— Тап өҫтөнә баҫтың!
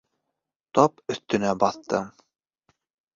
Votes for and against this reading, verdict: 2, 0, accepted